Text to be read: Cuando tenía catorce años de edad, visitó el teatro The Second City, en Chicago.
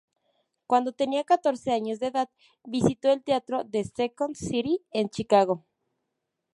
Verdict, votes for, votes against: rejected, 0, 2